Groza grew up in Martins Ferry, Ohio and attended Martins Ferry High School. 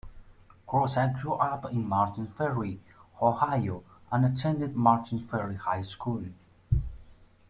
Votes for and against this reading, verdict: 2, 1, accepted